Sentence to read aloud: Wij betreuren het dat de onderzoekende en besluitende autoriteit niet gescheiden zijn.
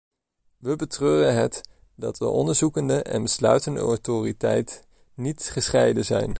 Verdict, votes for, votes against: rejected, 0, 2